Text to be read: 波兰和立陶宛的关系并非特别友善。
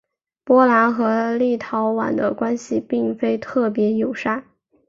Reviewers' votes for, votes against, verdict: 6, 0, accepted